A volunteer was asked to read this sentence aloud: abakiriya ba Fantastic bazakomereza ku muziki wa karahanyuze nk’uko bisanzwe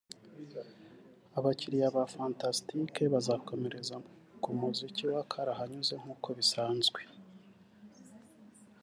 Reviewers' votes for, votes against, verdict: 1, 2, rejected